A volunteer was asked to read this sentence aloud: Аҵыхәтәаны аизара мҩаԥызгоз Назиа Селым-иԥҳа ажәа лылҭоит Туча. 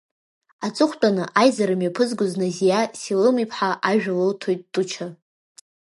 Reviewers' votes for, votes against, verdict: 2, 0, accepted